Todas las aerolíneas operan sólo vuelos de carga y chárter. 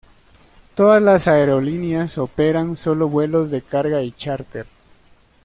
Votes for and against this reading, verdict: 2, 0, accepted